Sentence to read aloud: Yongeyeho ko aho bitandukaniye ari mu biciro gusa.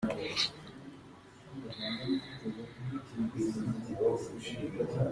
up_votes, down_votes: 0, 2